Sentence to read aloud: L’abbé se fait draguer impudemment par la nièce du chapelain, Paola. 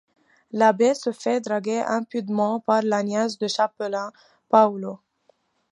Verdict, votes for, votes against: rejected, 0, 2